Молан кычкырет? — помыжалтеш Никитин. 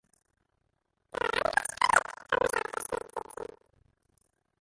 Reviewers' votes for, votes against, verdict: 0, 2, rejected